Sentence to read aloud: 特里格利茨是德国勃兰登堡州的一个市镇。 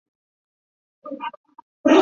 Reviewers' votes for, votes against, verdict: 0, 4, rejected